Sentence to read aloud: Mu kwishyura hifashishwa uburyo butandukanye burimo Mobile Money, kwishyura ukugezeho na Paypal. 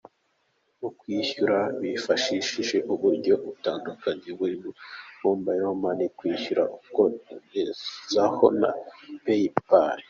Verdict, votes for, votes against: accepted, 2, 0